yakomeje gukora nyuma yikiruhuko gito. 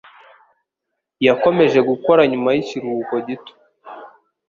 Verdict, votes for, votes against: accepted, 2, 0